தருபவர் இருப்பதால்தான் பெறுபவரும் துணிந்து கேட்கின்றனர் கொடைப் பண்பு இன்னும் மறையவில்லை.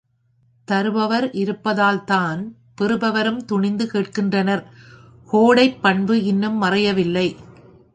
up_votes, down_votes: 1, 2